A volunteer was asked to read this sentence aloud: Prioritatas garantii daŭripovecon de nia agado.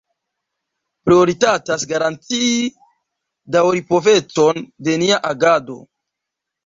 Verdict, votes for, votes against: rejected, 1, 2